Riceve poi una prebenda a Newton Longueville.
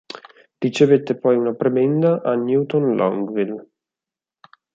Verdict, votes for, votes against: rejected, 2, 6